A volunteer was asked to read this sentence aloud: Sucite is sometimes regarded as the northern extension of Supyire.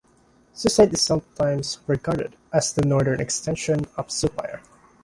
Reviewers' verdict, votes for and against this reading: accepted, 2, 0